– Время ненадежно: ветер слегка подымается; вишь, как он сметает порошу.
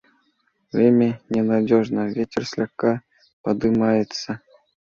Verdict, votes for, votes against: rejected, 0, 2